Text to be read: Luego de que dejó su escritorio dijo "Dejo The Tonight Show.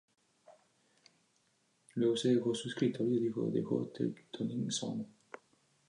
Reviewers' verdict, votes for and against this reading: rejected, 0, 2